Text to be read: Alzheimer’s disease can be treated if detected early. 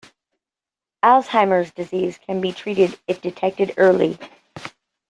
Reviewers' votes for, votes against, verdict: 2, 0, accepted